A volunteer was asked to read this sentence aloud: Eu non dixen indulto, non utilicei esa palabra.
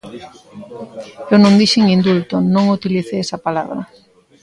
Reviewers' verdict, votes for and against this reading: accepted, 2, 0